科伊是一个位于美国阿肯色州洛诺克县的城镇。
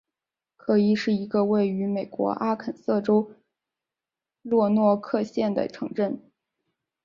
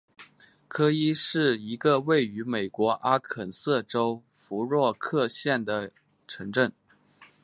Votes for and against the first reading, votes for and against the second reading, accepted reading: 4, 0, 1, 2, first